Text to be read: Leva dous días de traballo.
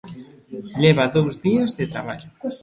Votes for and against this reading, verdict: 2, 1, accepted